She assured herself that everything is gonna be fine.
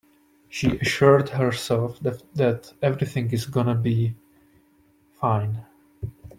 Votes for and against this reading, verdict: 1, 2, rejected